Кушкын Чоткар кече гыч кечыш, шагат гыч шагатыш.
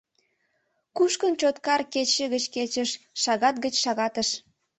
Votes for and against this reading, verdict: 2, 0, accepted